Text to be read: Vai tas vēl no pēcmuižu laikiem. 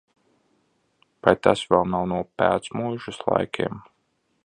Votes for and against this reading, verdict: 0, 2, rejected